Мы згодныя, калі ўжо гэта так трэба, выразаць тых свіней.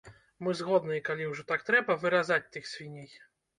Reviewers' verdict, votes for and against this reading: rejected, 1, 2